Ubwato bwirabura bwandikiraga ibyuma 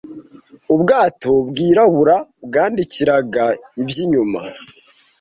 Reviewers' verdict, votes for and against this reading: rejected, 0, 2